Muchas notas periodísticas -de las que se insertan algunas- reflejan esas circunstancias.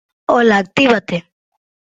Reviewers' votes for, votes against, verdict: 0, 2, rejected